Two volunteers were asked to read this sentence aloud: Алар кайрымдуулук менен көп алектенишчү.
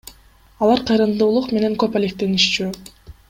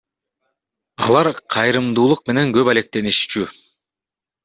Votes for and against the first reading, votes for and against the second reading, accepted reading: 1, 2, 2, 0, second